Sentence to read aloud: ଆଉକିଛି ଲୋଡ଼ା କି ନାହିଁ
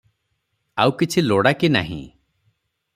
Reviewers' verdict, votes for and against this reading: accepted, 3, 0